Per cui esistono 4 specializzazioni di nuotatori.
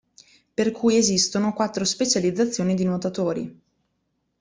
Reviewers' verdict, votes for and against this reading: rejected, 0, 2